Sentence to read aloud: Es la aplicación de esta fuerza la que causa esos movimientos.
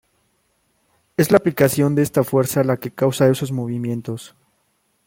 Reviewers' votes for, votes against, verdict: 1, 2, rejected